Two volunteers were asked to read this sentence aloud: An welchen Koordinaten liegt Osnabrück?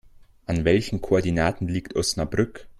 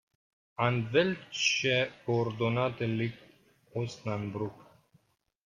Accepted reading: first